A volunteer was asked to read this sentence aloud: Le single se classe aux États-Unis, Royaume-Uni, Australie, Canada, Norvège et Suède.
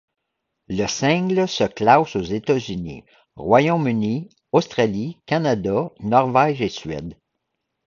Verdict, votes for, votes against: rejected, 0, 2